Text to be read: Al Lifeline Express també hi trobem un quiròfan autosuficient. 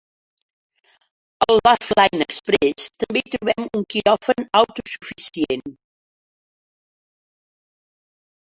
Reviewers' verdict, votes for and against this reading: rejected, 0, 5